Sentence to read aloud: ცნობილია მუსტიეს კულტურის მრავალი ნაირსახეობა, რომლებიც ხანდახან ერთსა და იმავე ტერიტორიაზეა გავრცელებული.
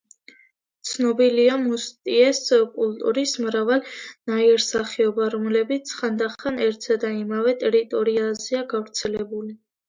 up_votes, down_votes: 2, 0